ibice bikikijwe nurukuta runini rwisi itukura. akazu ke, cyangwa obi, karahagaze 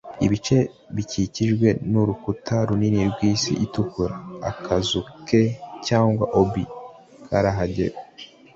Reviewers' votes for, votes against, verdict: 1, 2, rejected